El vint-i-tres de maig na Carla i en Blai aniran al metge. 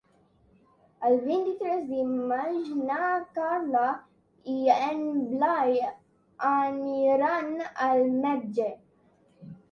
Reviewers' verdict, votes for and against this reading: accepted, 2, 1